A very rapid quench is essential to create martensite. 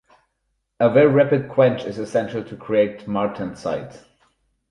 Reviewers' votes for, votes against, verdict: 4, 0, accepted